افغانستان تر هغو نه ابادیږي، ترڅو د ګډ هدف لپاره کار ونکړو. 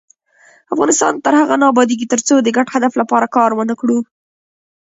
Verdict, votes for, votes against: rejected, 0, 2